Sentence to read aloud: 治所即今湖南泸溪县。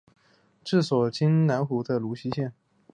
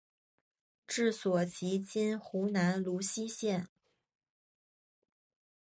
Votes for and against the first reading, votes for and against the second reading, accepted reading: 1, 2, 4, 0, second